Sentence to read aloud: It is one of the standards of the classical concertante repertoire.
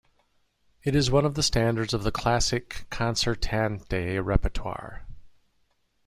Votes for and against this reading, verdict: 0, 2, rejected